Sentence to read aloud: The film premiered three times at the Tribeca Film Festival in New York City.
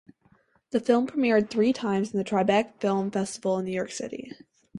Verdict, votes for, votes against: accepted, 4, 2